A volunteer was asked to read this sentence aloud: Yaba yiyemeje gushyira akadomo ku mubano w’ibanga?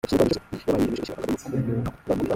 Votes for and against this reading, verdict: 0, 2, rejected